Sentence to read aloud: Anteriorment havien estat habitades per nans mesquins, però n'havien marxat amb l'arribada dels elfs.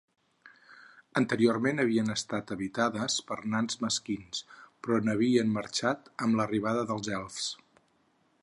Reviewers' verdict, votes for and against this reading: accepted, 4, 0